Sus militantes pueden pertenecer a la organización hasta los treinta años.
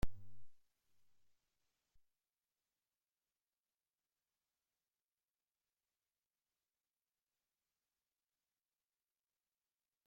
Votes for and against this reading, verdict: 0, 2, rejected